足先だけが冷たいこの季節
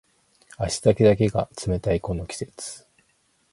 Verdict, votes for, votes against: accepted, 4, 0